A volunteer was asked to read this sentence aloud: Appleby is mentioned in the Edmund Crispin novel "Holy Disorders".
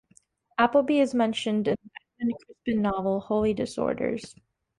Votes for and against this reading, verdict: 1, 2, rejected